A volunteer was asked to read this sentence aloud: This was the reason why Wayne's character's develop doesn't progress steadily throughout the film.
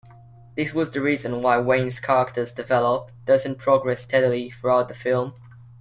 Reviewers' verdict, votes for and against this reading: accepted, 2, 1